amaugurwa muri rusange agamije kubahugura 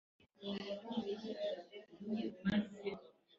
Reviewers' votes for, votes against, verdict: 1, 3, rejected